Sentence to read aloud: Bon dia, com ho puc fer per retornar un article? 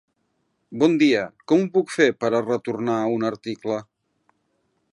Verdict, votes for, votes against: rejected, 1, 2